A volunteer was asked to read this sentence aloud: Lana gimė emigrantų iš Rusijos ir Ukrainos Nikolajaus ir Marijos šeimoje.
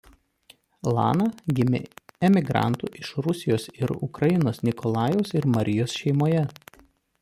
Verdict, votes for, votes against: rejected, 1, 2